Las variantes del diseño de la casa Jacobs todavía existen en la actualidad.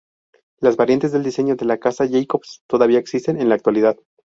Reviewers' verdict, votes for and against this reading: accepted, 2, 0